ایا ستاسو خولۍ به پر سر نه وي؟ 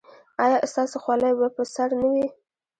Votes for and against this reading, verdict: 1, 2, rejected